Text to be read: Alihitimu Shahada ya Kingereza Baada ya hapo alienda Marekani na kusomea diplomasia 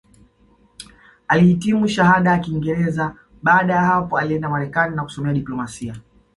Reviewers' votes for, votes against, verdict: 2, 0, accepted